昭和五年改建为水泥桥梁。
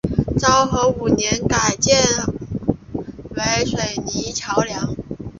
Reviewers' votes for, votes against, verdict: 3, 0, accepted